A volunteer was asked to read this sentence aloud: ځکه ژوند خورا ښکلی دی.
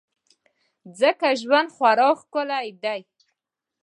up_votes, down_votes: 2, 0